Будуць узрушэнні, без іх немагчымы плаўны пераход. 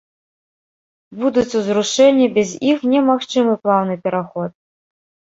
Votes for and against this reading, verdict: 0, 2, rejected